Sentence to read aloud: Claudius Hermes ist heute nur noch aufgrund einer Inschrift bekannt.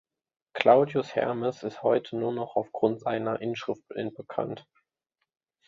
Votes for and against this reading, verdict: 0, 2, rejected